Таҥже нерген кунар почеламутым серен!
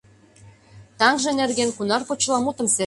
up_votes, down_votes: 0, 2